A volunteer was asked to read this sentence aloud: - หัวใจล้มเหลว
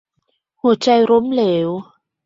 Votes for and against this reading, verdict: 2, 0, accepted